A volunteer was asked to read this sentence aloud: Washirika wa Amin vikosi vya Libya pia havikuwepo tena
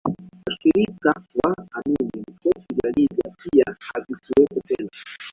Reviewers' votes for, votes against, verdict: 0, 2, rejected